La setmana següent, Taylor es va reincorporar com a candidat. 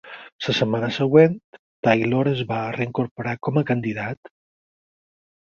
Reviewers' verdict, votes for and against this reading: accepted, 4, 0